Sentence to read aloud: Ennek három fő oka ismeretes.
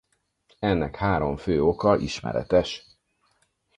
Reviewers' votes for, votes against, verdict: 4, 2, accepted